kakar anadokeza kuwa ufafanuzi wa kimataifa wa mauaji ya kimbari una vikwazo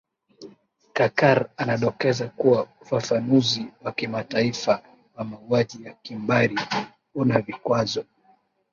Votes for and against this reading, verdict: 2, 4, rejected